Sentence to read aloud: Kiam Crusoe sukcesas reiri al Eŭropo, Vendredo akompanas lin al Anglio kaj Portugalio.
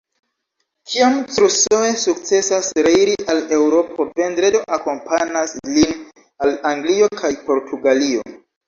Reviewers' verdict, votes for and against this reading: accepted, 2, 1